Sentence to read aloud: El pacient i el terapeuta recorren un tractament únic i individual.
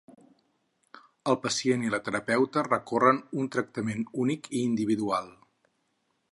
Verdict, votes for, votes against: rejected, 0, 4